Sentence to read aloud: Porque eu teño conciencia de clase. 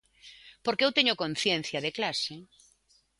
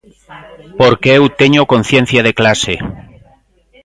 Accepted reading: first